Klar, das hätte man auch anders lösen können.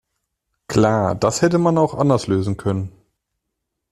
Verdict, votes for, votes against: accepted, 2, 0